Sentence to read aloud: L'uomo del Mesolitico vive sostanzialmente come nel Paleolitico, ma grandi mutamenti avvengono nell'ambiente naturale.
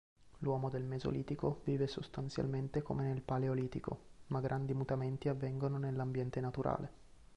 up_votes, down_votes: 3, 0